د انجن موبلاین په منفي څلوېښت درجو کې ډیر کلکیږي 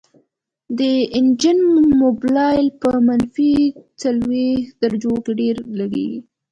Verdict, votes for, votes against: accepted, 2, 0